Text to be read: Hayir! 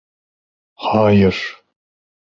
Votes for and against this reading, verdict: 1, 2, rejected